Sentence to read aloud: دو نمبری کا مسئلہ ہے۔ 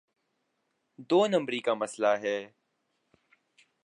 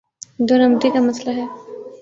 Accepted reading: first